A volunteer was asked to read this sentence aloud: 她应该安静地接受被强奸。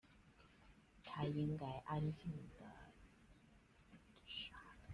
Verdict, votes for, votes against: rejected, 0, 2